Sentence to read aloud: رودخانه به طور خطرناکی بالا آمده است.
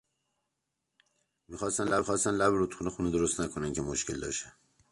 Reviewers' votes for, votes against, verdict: 0, 2, rejected